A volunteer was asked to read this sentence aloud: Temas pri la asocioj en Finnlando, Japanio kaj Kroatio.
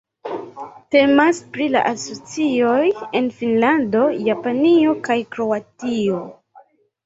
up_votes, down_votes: 2, 1